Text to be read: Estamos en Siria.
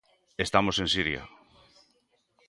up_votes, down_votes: 2, 0